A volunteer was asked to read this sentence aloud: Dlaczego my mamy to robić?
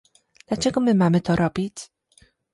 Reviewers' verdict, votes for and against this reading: accepted, 2, 0